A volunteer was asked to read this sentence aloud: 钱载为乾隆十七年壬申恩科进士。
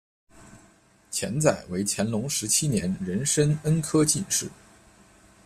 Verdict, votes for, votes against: accepted, 2, 0